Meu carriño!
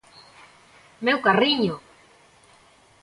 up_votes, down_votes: 2, 0